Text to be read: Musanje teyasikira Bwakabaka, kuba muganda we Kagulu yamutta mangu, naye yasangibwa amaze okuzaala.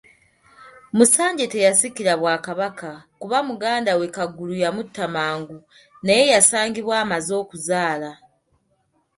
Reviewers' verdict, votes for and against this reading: accepted, 2, 0